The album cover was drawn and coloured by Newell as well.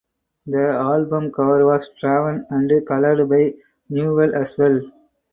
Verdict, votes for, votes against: accepted, 4, 2